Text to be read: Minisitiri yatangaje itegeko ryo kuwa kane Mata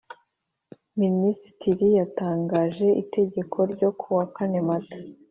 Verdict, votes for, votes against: accepted, 2, 0